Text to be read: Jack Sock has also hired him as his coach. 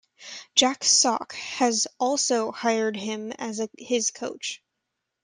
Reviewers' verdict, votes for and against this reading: rejected, 0, 2